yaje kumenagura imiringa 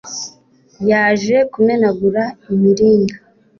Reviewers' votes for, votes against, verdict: 2, 0, accepted